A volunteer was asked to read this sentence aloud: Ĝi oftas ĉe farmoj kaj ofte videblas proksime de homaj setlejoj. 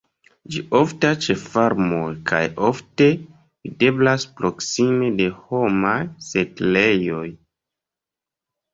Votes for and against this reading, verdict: 1, 2, rejected